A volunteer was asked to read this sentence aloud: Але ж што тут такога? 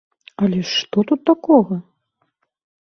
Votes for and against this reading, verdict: 2, 0, accepted